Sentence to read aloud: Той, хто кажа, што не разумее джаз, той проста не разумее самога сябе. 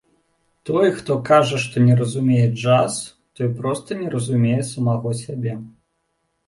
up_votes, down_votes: 2, 1